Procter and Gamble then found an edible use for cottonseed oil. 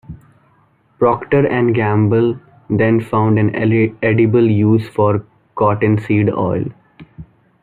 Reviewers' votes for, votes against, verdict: 1, 2, rejected